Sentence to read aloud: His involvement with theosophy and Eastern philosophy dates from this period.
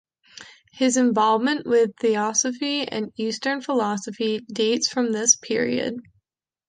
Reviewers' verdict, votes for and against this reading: accepted, 2, 0